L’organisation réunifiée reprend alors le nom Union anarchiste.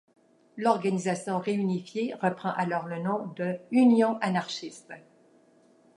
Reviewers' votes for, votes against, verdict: 1, 2, rejected